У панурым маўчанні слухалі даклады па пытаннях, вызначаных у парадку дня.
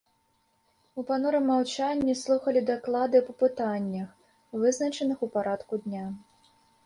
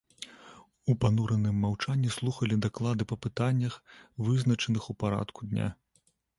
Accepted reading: first